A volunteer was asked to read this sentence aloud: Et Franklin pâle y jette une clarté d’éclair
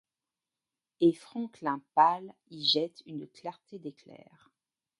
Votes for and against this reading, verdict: 1, 2, rejected